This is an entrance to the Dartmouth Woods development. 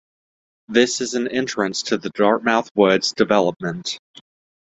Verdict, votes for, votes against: accepted, 2, 0